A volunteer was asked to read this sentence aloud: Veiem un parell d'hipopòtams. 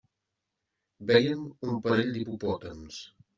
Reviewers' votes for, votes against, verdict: 0, 2, rejected